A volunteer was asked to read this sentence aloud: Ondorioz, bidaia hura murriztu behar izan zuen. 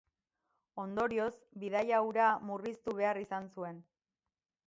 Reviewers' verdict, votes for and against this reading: accepted, 12, 2